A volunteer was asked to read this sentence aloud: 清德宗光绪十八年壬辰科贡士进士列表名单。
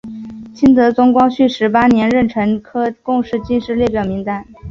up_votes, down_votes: 6, 0